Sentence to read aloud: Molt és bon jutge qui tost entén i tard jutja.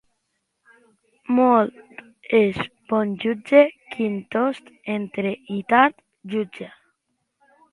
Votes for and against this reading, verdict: 0, 2, rejected